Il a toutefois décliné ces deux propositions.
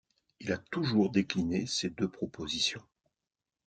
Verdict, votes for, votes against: rejected, 0, 2